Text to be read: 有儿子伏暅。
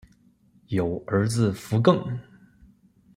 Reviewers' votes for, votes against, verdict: 2, 0, accepted